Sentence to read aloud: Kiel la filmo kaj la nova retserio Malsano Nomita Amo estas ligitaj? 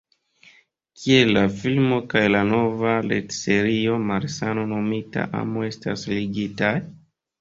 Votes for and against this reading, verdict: 1, 2, rejected